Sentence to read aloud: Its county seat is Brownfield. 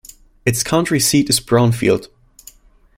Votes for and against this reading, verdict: 1, 2, rejected